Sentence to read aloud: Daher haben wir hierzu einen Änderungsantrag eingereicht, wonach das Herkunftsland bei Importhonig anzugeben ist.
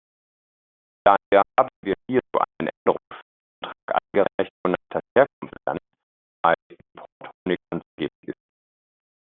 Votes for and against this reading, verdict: 0, 2, rejected